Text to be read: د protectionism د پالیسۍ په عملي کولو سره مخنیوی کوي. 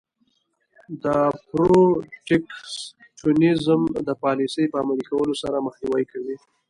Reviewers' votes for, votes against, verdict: 2, 0, accepted